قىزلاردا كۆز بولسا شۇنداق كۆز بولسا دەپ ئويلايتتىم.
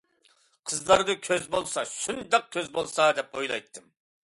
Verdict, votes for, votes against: accepted, 2, 0